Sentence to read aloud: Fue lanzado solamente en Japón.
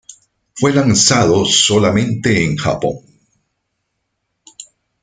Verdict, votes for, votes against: accepted, 2, 0